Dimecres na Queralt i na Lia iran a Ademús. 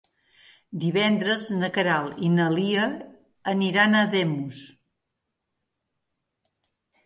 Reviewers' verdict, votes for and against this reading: rejected, 0, 2